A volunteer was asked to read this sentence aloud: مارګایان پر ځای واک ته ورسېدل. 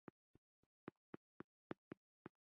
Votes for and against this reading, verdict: 0, 2, rejected